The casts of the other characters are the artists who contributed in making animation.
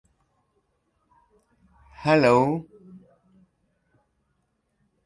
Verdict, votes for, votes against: rejected, 0, 2